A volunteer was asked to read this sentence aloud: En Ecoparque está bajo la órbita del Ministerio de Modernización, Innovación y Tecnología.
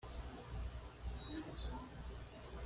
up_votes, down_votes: 1, 2